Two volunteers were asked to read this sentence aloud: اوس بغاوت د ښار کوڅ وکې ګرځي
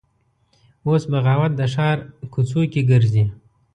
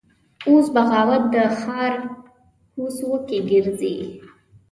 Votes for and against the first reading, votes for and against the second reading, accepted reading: 2, 0, 1, 2, first